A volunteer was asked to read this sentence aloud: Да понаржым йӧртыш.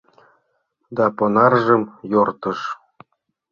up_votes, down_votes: 0, 2